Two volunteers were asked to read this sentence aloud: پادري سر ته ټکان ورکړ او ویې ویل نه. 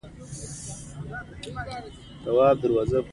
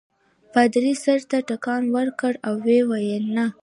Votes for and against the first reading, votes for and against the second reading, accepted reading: 1, 2, 2, 0, second